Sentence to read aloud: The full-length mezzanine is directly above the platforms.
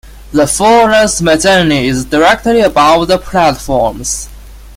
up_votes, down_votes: 0, 2